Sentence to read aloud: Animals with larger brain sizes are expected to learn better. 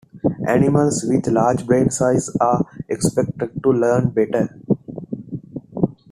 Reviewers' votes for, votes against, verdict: 0, 2, rejected